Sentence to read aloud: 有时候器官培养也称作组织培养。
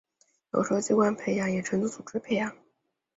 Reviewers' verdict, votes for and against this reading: accepted, 2, 1